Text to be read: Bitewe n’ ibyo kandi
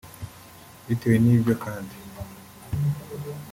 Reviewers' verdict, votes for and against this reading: accepted, 2, 0